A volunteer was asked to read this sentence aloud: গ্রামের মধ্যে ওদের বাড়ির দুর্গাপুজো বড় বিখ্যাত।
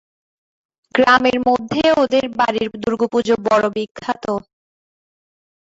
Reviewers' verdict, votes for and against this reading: rejected, 0, 2